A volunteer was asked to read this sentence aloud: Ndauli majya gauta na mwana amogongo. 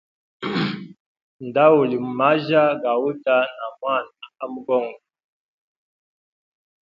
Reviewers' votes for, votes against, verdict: 0, 2, rejected